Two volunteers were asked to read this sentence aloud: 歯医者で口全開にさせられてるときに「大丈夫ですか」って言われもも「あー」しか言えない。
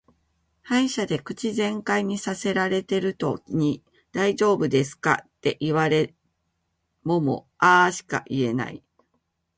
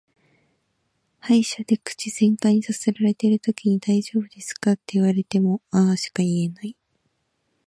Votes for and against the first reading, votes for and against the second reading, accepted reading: 1, 2, 2, 0, second